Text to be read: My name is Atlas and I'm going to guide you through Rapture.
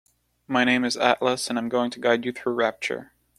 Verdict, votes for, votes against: accepted, 2, 0